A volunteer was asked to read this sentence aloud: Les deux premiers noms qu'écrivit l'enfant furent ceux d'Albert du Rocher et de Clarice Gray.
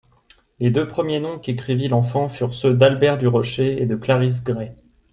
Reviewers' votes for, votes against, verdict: 2, 0, accepted